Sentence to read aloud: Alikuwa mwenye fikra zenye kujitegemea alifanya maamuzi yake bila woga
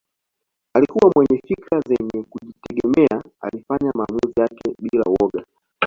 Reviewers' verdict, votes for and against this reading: accepted, 2, 0